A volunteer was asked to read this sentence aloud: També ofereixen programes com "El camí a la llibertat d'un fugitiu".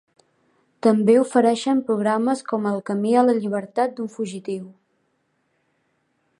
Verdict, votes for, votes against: accepted, 2, 0